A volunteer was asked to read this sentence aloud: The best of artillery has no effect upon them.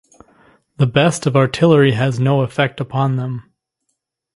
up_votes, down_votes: 2, 0